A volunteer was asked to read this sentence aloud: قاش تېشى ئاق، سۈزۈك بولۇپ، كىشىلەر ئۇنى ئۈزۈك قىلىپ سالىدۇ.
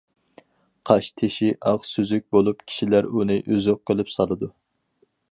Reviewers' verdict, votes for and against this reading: accepted, 4, 0